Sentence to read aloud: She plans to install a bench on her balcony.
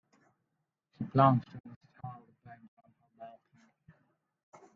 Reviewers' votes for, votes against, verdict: 0, 2, rejected